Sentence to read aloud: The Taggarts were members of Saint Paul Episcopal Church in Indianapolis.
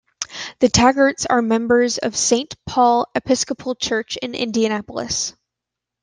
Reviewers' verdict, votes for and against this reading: rejected, 1, 2